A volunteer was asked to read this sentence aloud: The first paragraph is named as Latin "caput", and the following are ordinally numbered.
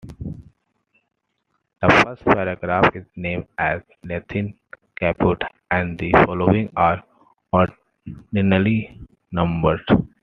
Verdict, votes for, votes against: rejected, 0, 2